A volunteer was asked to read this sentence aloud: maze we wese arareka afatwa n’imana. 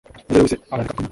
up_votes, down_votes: 0, 2